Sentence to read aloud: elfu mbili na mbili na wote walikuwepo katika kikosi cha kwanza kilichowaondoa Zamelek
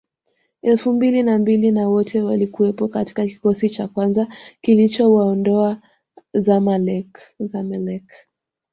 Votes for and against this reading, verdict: 2, 0, accepted